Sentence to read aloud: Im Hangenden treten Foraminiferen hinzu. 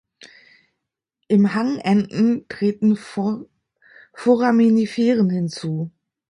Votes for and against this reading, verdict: 0, 2, rejected